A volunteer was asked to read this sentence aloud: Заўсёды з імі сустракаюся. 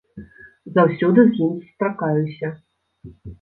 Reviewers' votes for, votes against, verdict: 2, 0, accepted